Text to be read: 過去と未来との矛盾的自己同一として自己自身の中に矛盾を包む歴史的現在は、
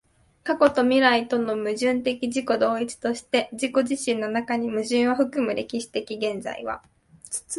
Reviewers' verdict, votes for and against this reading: rejected, 0, 2